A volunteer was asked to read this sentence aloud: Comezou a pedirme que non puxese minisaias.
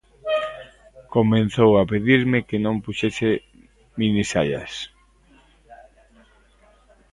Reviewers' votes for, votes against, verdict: 0, 2, rejected